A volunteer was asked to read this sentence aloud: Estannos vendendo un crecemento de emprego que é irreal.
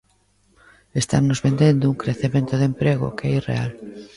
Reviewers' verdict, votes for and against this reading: rejected, 0, 2